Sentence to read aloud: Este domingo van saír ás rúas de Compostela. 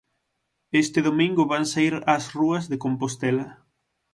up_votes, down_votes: 6, 0